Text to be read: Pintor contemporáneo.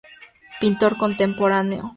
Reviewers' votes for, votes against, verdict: 2, 0, accepted